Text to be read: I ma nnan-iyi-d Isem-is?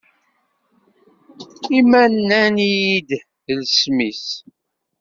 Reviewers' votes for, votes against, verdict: 1, 2, rejected